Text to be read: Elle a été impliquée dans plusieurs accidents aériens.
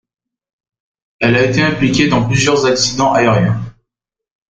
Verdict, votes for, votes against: rejected, 1, 2